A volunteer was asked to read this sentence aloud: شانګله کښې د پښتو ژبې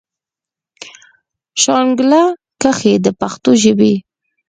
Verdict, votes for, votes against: accepted, 4, 0